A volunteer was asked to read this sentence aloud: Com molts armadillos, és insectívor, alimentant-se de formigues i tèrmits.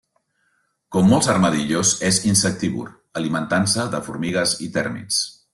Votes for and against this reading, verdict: 3, 0, accepted